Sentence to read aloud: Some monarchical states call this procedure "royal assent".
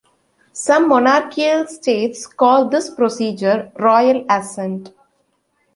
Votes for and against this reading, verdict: 2, 0, accepted